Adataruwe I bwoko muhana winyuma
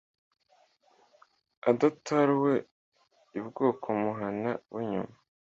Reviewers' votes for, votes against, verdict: 2, 1, accepted